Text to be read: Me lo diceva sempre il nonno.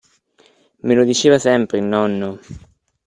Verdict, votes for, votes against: accepted, 3, 0